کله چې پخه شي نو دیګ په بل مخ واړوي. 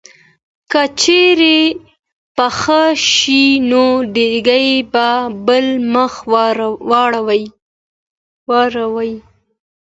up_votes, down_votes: 2, 0